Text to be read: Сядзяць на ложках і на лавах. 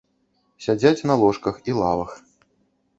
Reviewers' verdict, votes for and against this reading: rejected, 0, 2